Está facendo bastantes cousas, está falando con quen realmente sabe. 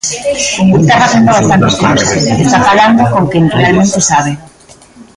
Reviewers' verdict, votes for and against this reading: rejected, 0, 2